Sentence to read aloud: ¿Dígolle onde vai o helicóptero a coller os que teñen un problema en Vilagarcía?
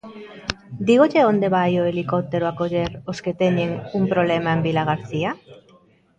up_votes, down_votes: 0, 2